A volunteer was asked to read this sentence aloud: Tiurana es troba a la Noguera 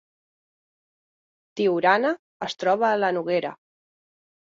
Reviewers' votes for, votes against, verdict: 4, 0, accepted